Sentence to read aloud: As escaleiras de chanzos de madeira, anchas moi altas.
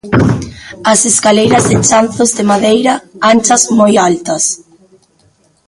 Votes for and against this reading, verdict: 1, 2, rejected